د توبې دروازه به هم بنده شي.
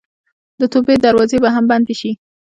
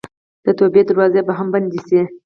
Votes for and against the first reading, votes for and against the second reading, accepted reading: 2, 0, 0, 4, first